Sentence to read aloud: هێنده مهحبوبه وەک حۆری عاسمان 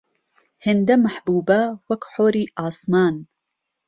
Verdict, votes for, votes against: accepted, 2, 0